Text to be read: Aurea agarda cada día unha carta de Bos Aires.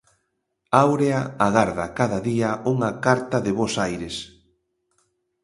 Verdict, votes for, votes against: accepted, 2, 0